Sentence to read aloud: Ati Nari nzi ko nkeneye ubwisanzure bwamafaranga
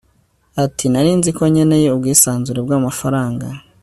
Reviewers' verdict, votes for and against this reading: accepted, 2, 0